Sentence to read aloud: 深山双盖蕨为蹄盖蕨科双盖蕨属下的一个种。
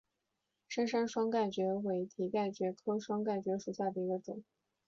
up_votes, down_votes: 5, 2